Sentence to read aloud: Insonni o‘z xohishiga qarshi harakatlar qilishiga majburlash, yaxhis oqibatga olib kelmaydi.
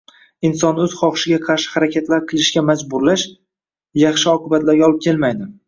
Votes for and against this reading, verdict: 0, 2, rejected